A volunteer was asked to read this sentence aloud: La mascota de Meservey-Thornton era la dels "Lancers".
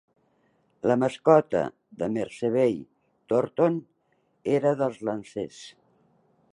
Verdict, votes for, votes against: accepted, 2, 1